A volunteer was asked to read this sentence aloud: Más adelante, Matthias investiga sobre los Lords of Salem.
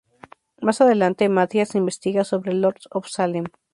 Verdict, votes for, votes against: rejected, 0, 2